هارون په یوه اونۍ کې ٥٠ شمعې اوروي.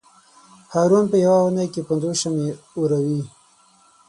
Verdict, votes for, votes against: rejected, 0, 2